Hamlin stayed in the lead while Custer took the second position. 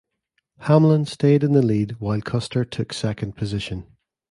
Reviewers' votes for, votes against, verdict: 0, 2, rejected